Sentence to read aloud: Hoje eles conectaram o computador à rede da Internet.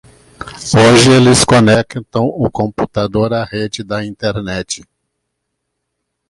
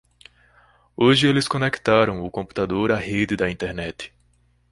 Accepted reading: second